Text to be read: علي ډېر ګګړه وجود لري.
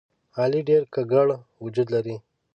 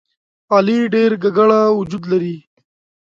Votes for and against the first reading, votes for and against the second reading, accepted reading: 1, 2, 2, 0, second